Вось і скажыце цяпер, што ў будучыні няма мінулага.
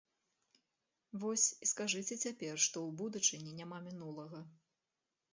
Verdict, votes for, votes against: rejected, 0, 2